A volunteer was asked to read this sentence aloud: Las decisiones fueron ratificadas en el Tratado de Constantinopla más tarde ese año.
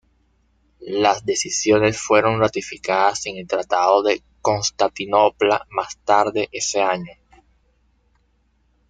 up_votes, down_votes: 0, 2